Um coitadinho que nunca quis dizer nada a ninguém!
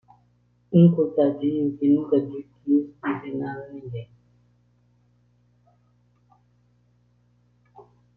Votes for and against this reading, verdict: 0, 2, rejected